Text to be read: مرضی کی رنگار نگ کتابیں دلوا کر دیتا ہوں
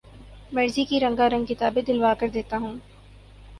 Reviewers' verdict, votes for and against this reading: accepted, 12, 0